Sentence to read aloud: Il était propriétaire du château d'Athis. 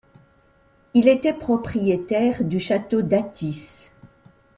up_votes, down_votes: 2, 0